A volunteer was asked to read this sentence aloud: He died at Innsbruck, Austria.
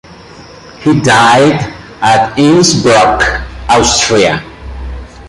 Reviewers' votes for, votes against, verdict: 2, 1, accepted